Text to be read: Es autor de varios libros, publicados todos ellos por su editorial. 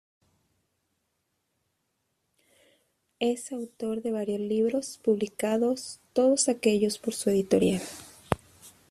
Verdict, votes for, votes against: rejected, 0, 2